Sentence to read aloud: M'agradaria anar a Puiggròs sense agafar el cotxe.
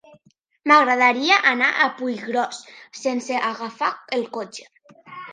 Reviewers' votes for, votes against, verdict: 2, 1, accepted